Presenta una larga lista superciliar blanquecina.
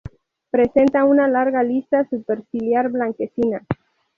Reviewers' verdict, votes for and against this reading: rejected, 2, 4